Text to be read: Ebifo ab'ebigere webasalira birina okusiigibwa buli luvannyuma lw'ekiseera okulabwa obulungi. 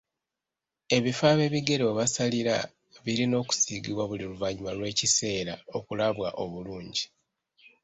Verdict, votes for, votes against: rejected, 0, 2